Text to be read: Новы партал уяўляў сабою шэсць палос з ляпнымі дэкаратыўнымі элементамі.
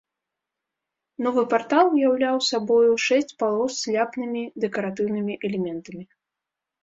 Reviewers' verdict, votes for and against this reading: rejected, 1, 2